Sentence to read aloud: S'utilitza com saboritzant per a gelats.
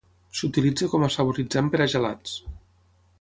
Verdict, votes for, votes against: rejected, 0, 6